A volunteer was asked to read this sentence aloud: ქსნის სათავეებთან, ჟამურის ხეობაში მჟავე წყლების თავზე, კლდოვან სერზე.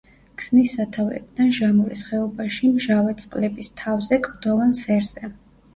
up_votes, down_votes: 2, 0